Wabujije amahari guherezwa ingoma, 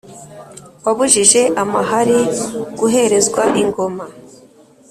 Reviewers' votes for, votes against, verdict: 2, 0, accepted